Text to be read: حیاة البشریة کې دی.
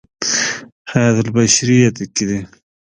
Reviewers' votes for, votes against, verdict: 0, 2, rejected